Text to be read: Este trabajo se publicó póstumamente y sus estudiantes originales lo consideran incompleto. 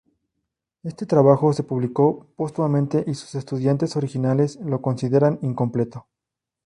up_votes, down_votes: 2, 0